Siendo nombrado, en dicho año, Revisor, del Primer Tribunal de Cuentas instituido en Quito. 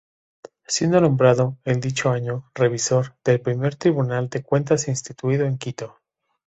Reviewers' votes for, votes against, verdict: 2, 0, accepted